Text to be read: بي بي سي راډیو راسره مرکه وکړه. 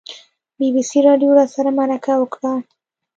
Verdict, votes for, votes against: accepted, 2, 0